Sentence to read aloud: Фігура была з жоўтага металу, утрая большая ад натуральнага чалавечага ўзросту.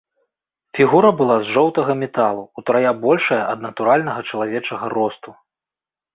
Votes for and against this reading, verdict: 2, 3, rejected